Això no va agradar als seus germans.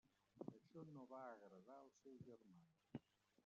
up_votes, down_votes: 1, 2